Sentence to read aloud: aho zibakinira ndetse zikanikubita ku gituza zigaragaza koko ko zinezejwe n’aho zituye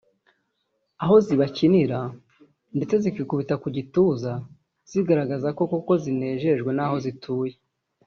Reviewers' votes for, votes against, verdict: 0, 2, rejected